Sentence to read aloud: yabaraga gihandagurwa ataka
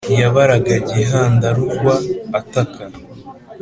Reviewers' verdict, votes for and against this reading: accepted, 4, 0